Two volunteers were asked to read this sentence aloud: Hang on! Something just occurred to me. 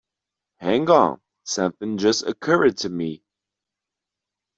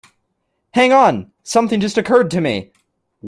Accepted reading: second